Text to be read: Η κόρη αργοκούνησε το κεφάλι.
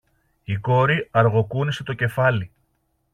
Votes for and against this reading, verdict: 2, 0, accepted